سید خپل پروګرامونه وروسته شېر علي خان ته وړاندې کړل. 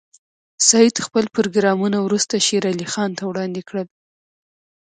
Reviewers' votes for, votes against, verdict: 0, 2, rejected